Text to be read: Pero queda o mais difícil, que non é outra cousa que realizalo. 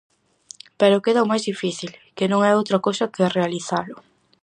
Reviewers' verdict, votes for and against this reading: accepted, 4, 0